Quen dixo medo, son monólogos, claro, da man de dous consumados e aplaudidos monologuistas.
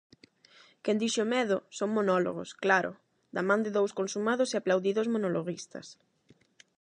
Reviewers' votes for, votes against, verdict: 8, 0, accepted